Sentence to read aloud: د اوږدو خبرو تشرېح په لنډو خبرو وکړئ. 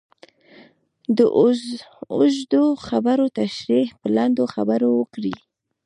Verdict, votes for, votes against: accepted, 2, 0